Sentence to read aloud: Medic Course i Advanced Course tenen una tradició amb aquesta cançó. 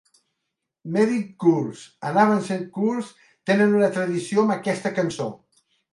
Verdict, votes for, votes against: rejected, 0, 2